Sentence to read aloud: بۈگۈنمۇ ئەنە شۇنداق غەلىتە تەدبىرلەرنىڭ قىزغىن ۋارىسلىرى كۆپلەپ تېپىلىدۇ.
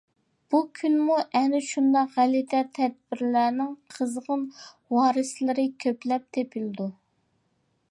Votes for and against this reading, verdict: 1, 2, rejected